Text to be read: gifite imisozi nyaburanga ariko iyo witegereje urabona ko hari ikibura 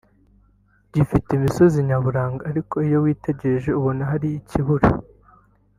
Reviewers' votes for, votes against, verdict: 4, 0, accepted